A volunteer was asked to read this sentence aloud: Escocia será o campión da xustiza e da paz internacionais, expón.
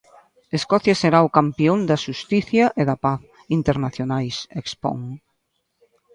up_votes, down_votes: 1, 2